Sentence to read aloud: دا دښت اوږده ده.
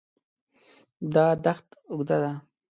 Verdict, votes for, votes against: rejected, 1, 2